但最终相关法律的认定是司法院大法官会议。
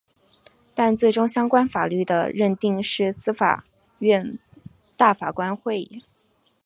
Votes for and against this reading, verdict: 2, 0, accepted